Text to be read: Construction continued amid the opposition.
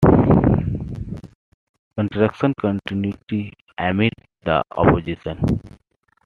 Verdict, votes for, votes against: accepted, 2, 1